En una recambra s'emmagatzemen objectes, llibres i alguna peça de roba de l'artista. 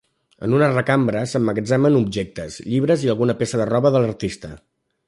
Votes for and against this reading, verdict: 2, 0, accepted